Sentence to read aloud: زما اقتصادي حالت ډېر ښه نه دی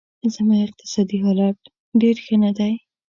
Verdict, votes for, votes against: accepted, 2, 0